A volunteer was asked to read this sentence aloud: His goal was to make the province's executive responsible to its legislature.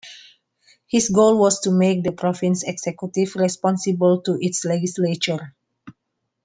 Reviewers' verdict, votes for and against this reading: rejected, 0, 2